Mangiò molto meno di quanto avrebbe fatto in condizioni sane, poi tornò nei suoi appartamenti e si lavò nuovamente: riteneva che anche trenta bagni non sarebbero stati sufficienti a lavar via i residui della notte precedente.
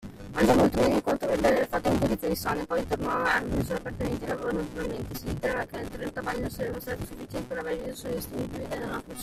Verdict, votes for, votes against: rejected, 0, 2